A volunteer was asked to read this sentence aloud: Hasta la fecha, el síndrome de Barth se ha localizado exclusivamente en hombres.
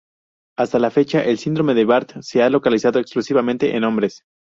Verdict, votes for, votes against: accepted, 2, 0